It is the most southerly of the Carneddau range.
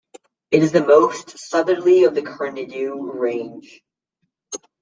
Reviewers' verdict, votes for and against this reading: rejected, 1, 2